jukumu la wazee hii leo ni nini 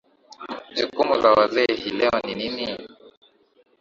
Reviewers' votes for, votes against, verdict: 2, 1, accepted